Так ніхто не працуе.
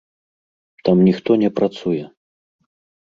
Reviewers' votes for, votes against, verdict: 1, 2, rejected